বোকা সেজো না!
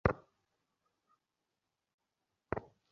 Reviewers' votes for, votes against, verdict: 0, 2, rejected